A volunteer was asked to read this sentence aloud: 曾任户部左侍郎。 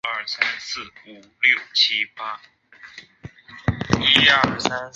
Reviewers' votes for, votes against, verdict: 0, 5, rejected